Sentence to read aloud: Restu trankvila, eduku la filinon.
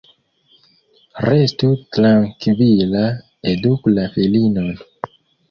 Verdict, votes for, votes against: accepted, 2, 0